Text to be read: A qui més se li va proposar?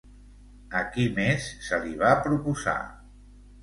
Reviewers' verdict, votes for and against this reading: rejected, 1, 2